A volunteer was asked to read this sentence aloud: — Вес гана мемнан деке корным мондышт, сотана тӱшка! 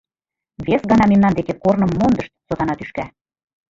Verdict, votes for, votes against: accepted, 2, 1